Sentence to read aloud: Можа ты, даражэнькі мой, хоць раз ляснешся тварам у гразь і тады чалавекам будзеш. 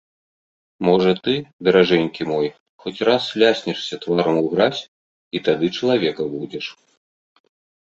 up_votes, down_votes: 2, 0